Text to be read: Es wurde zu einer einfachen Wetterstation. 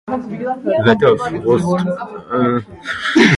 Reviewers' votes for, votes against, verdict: 0, 2, rejected